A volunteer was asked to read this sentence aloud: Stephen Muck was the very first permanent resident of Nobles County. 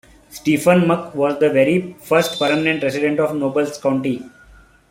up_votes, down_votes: 1, 2